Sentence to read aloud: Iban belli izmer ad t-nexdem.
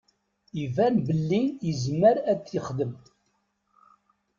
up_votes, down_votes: 1, 2